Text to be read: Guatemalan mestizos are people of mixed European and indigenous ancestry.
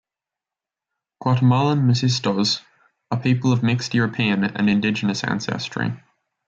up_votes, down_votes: 0, 2